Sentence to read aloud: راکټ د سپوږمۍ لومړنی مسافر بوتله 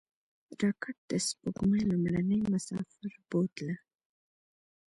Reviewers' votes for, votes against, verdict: 2, 0, accepted